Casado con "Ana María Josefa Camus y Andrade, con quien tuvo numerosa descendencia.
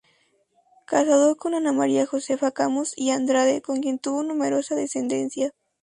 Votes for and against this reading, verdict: 4, 0, accepted